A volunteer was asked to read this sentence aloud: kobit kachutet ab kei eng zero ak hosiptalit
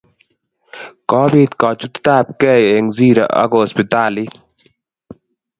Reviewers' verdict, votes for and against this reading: accepted, 2, 0